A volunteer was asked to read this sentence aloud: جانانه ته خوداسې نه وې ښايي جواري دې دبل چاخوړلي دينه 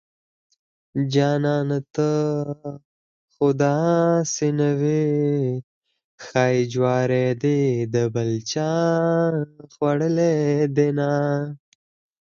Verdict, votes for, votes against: rejected, 2, 4